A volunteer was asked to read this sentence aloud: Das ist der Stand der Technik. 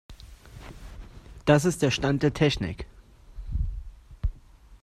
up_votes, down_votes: 2, 0